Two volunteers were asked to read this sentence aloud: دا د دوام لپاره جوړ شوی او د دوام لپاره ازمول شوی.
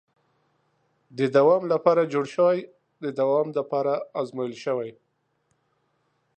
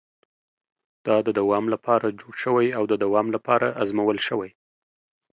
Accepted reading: second